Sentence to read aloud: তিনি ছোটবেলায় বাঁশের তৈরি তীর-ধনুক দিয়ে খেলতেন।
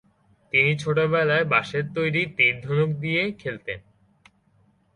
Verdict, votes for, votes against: accepted, 2, 0